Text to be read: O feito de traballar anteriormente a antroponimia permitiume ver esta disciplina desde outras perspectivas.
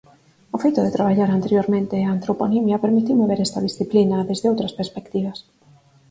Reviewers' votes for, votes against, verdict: 4, 2, accepted